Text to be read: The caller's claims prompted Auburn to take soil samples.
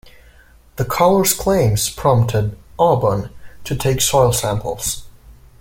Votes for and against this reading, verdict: 2, 0, accepted